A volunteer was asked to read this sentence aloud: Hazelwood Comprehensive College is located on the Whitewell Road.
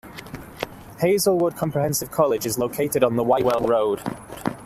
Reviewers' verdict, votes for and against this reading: accepted, 2, 1